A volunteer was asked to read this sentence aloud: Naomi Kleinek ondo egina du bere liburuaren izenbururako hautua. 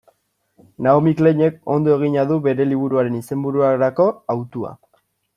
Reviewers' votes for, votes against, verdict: 2, 0, accepted